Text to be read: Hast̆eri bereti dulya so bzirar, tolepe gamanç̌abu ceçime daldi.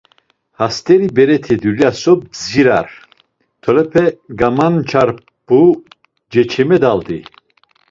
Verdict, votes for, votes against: rejected, 1, 2